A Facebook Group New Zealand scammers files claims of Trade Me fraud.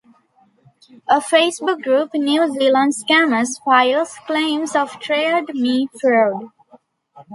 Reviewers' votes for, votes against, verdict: 2, 0, accepted